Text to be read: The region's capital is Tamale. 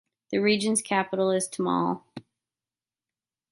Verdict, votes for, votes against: accepted, 2, 0